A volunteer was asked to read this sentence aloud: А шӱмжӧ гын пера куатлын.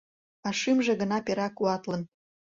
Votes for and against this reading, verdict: 0, 2, rejected